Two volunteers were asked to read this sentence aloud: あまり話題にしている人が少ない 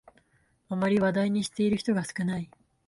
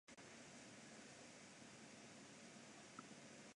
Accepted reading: first